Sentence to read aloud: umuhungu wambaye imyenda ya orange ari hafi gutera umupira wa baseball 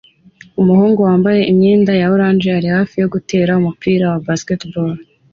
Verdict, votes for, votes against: accepted, 2, 0